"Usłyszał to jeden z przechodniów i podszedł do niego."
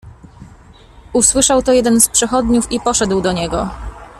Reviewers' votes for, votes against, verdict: 2, 0, accepted